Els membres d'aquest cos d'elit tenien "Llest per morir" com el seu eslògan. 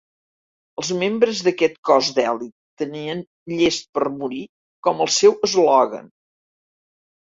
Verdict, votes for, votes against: accepted, 3, 0